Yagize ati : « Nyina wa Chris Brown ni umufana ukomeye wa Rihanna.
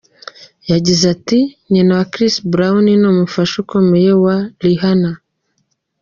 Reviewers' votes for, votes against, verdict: 0, 2, rejected